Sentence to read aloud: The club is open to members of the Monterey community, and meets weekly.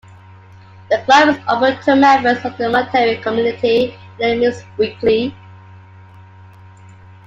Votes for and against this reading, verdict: 0, 2, rejected